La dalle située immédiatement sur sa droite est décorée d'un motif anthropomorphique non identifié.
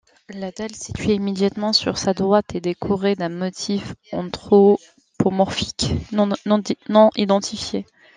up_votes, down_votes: 1, 2